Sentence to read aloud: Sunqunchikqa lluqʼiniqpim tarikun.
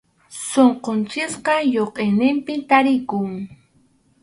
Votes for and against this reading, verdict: 4, 0, accepted